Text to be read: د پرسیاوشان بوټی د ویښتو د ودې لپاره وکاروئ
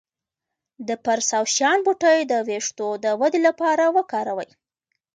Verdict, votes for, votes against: accepted, 2, 1